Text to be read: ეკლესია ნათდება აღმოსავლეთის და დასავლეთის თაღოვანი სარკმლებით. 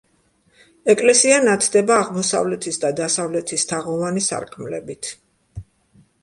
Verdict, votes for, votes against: accepted, 2, 0